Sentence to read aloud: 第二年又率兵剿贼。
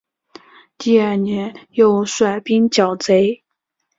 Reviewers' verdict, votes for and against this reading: accepted, 3, 2